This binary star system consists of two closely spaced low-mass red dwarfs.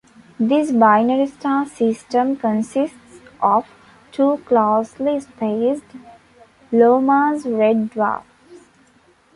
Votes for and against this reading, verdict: 1, 2, rejected